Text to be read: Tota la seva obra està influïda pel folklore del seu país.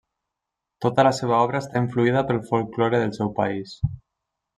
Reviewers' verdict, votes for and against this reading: accepted, 3, 0